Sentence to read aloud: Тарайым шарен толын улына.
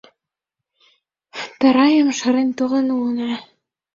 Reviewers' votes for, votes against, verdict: 2, 0, accepted